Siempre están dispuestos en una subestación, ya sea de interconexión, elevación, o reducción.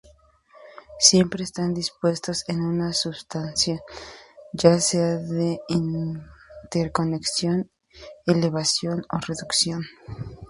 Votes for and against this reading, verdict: 0, 2, rejected